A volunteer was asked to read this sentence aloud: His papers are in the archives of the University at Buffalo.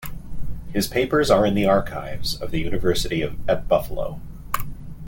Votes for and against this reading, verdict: 1, 2, rejected